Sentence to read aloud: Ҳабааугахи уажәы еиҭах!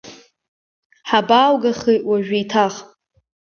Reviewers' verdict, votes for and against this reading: accepted, 4, 0